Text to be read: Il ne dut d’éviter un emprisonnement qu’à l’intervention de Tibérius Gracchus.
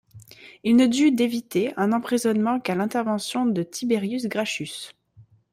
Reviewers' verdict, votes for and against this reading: rejected, 1, 2